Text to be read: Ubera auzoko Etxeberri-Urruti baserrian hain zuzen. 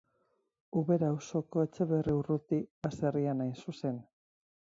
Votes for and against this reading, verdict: 2, 2, rejected